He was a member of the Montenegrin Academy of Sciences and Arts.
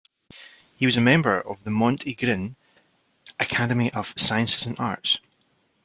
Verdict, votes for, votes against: rejected, 1, 2